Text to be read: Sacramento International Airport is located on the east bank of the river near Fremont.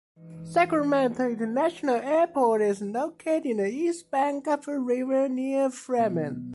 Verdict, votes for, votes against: accepted, 2, 1